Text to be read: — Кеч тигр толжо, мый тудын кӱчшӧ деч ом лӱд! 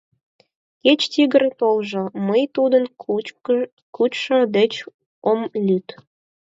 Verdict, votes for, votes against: rejected, 2, 4